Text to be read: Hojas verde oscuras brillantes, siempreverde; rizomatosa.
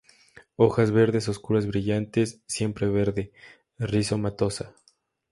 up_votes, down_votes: 0, 2